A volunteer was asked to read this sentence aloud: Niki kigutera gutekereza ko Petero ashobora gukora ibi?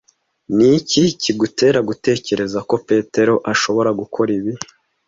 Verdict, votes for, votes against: accepted, 2, 0